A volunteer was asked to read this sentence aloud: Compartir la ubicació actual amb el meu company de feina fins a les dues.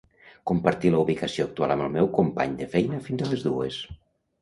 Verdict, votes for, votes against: accepted, 2, 1